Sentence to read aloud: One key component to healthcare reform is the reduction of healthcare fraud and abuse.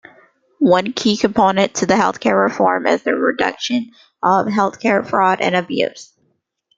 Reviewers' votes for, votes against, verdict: 1, 2, rejected